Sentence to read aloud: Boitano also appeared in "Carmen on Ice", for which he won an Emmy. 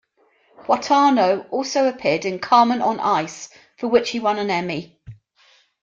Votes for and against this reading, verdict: 2, 1, accepted